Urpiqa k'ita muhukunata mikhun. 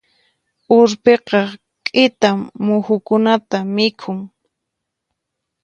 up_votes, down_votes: 4, 0